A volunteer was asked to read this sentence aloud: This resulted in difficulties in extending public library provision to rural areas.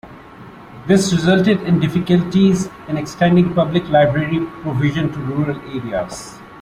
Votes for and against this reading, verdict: 2, 0, accepted